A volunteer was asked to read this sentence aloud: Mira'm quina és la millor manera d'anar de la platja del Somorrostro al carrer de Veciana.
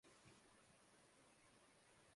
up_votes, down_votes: 0, 2